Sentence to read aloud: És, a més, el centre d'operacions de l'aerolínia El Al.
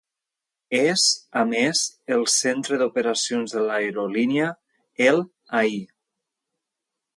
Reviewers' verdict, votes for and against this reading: rejected, 1, 2